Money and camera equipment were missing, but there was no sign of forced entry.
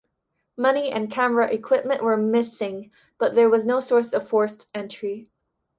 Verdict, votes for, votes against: rejected, 0, 2